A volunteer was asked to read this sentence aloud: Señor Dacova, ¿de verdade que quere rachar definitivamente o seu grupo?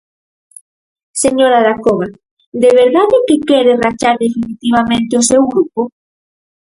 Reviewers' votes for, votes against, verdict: 0, 4, rejected